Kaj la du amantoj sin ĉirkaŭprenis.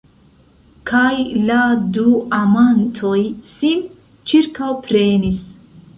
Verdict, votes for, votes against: rejected, 0, 2